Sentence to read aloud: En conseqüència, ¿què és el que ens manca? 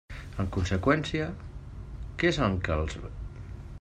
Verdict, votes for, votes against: rejected, 0, 2